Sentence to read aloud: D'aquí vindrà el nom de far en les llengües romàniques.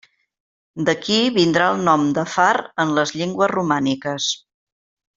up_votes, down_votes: 1, 2